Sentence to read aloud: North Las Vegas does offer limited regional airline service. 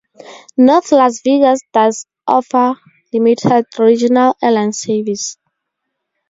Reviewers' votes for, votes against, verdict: 2, 2, rejected